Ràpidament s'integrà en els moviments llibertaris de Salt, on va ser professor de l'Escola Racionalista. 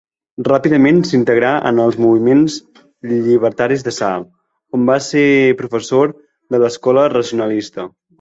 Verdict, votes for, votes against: accepted, 2, 1